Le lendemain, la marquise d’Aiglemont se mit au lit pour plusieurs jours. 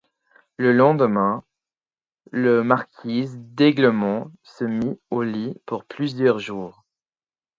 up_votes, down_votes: 2, 4